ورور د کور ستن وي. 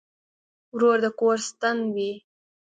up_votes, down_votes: 2, 0